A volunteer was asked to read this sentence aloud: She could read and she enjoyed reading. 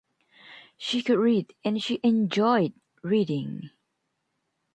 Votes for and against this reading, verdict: 3, 0, accepted